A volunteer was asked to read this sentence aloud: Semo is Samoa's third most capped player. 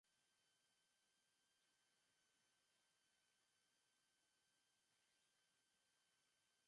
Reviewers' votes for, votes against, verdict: 0, 3, rejected